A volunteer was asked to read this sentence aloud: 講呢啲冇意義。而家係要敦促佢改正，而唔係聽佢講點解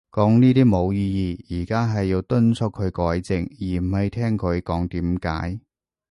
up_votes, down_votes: 2, 0